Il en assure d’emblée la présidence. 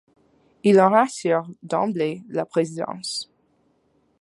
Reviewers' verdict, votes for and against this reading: rejected, 1, 2